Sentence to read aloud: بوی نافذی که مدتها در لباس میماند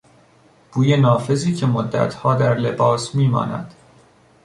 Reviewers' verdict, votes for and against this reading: accepted, 2, 0